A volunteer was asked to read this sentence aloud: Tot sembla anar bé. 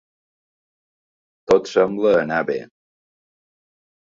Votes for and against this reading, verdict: 3, 0, accepted